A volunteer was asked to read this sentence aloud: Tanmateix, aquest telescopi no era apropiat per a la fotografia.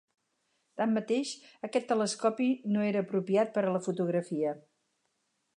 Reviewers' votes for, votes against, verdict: 4, 0, accepted